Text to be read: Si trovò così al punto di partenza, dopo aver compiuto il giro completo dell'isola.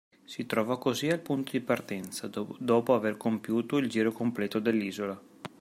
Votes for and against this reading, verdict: 0, 2, rejected